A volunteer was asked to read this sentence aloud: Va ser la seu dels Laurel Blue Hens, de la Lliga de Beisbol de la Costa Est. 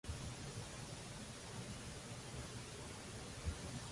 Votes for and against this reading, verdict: 0, 2, rejected